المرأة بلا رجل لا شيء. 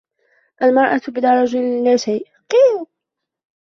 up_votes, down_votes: 0, 2